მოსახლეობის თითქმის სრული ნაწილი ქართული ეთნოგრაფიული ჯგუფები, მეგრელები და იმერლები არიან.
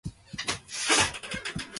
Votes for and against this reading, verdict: 1, 2, rejected